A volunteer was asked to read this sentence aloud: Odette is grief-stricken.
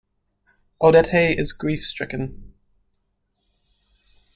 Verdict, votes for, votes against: rejected, 1, 2